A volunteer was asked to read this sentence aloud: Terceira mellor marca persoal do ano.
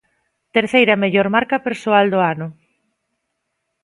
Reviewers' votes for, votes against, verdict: 2, 0, accepted